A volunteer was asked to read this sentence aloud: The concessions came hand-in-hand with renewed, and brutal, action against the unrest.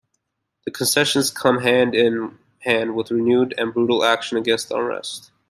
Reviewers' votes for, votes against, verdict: 0, 2, rejected